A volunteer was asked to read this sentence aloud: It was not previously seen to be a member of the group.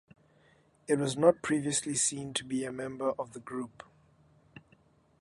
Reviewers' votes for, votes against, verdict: 2, 0, accepted